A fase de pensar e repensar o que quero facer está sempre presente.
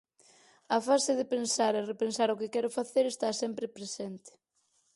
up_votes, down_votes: 4, 0